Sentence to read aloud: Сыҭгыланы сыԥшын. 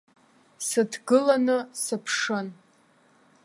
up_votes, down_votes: 1, 2